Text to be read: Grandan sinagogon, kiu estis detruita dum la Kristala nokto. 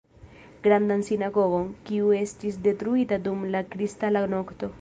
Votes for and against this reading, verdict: 1, 2, rejected